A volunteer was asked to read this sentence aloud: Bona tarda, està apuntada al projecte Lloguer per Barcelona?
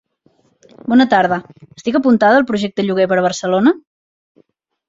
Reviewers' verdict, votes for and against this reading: rejected, 0, 2